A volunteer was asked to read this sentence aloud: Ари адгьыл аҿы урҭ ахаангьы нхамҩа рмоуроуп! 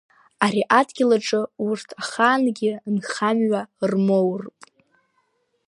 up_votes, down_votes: 1, 2